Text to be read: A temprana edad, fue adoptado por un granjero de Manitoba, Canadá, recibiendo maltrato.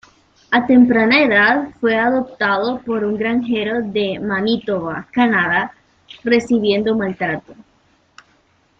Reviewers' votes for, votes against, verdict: 1, 2, rejected